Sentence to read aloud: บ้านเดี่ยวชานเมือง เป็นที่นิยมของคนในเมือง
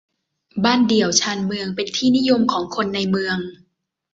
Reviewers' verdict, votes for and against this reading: accepted, 2, 0